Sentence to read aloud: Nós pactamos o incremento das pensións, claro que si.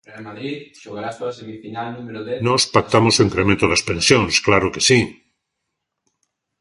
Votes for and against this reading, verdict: 0, 2, rejected